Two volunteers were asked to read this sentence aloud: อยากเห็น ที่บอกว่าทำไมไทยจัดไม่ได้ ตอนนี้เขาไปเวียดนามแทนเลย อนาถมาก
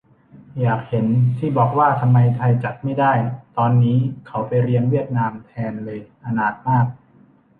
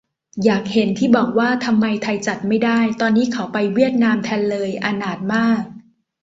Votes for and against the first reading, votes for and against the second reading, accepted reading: 0, 2, 2, 0, second